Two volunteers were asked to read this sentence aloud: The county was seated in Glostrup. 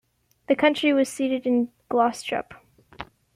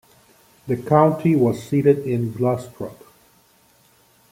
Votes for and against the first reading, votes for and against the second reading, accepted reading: 0, 2, 2, 0, second